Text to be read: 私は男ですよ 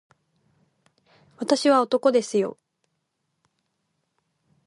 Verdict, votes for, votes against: rejected, 0, 2